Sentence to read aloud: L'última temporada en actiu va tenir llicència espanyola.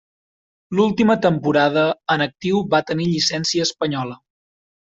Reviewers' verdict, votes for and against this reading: accepted, 4, 0